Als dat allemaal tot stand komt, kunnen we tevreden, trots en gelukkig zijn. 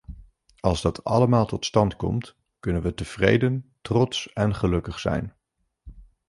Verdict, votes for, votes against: accepted, 2, 0